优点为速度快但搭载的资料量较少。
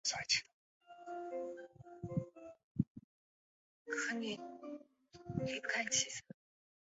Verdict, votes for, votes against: rejected, 0, 4